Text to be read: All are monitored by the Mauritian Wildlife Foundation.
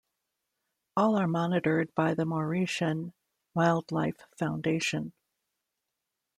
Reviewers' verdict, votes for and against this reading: accepted, 2, 0